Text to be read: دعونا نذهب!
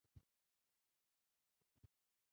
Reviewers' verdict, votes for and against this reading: rejected, 1, 2